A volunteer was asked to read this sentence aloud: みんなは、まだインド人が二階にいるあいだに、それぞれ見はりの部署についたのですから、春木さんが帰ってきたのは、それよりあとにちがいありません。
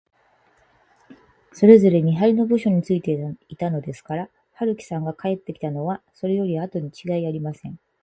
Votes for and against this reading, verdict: 2, 4, rejected